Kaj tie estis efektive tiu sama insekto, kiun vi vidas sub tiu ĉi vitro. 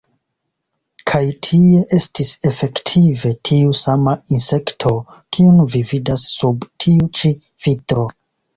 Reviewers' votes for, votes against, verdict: 2, 1, accepted